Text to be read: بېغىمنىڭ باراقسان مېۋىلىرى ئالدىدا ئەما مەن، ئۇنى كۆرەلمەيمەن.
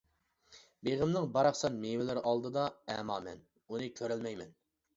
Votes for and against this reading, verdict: 2, 0, accepted